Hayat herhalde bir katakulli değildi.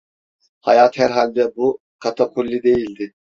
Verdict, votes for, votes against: rejected, 0, 3